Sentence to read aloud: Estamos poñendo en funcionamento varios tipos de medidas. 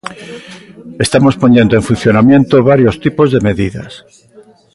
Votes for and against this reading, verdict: 0, 2, rejected